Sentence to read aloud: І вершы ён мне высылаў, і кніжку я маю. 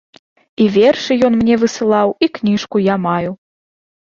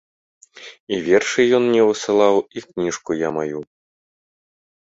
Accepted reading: first